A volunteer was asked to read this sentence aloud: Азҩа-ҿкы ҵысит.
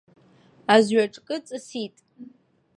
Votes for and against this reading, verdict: 2, 0, accepted